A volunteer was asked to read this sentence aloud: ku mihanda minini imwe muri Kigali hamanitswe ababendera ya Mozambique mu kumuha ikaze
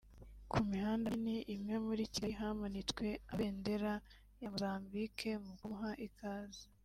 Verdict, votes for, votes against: rejected, 0, 2